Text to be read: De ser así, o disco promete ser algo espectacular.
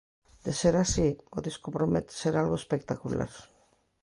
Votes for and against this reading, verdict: 2, 0, accepted